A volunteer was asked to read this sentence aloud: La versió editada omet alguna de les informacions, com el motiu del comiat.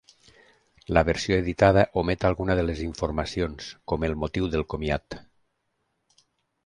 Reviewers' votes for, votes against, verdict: 3, 0, accepted